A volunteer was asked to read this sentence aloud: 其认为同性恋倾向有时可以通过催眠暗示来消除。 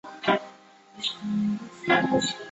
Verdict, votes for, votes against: rejected, 0, 4